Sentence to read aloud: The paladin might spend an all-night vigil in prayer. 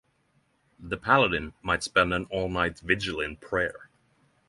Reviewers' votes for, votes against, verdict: 6, 0, accepted